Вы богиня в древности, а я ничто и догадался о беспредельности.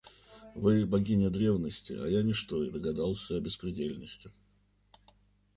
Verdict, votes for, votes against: rejected, 0, 2